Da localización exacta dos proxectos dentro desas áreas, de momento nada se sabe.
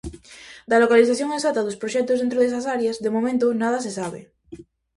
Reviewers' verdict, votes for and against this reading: accepted, 2, 0